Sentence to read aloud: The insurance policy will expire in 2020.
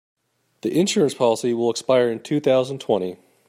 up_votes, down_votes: 0, 2